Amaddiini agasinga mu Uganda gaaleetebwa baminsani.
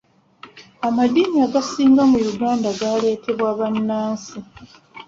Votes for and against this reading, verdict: 1, 2, rejected